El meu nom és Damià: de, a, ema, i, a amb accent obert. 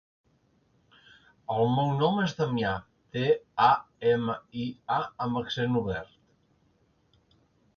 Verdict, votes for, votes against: accepted, 3, 0